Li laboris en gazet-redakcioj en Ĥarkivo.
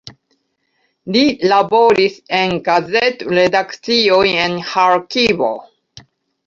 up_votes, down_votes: 0, 2